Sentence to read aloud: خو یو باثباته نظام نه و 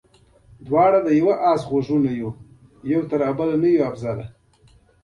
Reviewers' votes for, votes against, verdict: 0, 2, rejected